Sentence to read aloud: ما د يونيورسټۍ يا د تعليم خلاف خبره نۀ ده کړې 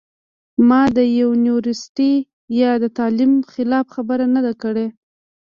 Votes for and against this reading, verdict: 0, 2, rejected